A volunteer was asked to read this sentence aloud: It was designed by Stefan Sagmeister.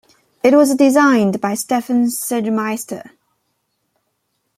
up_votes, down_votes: 1, 2